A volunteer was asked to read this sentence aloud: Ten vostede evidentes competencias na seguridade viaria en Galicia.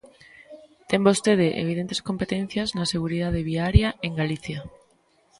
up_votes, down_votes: 2, 0